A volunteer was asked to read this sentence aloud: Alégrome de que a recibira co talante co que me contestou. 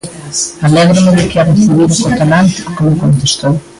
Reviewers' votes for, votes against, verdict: 1, 2, rejected